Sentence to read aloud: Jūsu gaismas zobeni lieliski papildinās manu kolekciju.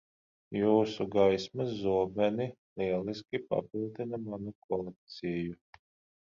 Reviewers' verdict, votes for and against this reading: rejected, 0, 15